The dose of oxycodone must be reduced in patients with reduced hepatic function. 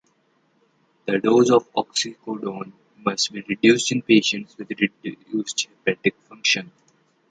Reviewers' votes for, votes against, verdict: 0, 2, rejected